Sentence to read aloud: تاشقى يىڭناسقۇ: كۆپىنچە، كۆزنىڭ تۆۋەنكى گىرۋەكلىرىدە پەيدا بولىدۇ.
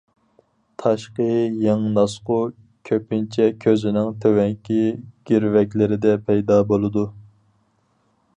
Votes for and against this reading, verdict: 2, 4, rejected